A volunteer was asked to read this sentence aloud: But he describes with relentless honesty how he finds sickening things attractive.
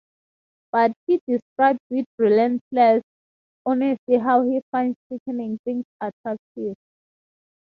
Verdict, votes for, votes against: rejected, 2, 2